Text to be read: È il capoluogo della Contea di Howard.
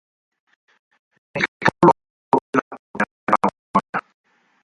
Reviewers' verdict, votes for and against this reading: rejected, 0, 4